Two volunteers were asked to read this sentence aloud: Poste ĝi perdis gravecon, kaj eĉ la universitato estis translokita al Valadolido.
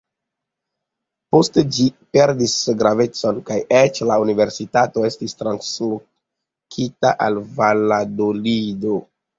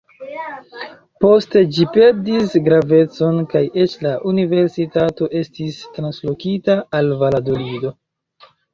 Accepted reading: first